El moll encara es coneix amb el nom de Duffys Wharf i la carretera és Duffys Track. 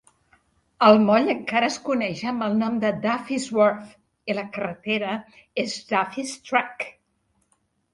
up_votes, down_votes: 2, 0